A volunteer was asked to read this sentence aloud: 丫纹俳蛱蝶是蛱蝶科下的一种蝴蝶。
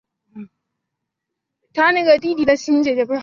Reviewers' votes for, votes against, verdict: 0, 2, rejected